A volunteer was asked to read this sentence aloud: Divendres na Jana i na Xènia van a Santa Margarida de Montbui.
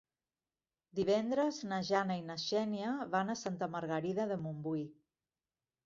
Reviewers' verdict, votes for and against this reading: accepted, 3, 0